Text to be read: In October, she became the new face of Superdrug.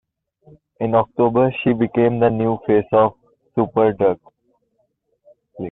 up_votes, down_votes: 0, 2